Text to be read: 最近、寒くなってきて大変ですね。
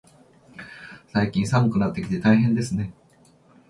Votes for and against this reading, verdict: 2, 0, accepted